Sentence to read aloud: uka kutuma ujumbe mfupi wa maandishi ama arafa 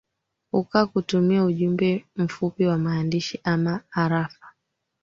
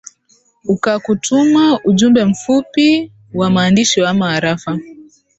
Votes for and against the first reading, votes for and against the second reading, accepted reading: 1, 2, 2, 0, second